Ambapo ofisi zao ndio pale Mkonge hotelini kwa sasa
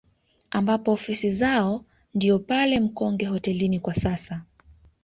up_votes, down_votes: 2, 0